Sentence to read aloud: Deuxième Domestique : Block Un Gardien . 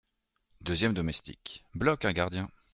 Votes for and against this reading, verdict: 1, 2, rejected